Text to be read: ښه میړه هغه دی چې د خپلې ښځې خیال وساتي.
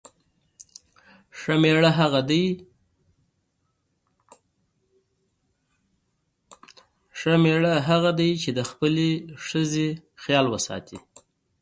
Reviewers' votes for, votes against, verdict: 0, 2, rejected